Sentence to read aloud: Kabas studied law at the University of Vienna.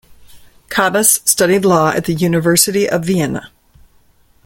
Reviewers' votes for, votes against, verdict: 2, 0, accepted